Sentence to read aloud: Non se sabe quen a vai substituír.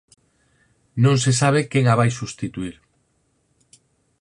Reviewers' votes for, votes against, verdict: 4, 0, accepted